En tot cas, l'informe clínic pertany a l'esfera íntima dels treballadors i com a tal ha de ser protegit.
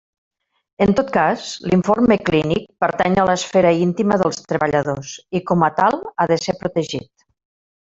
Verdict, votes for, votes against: accepted, 3, 0